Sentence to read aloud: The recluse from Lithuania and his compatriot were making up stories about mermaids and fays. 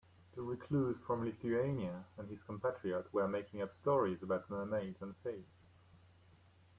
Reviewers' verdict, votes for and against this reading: rejected, 1, 2